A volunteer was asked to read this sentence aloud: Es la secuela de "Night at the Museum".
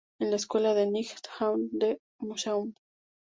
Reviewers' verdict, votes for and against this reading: rejected, 0, 2